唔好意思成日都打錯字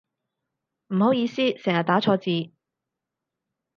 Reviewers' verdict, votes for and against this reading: rejected, 0, 4